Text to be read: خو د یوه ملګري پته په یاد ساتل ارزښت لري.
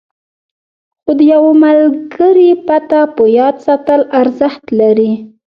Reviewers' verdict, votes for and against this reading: rejected, 1, 2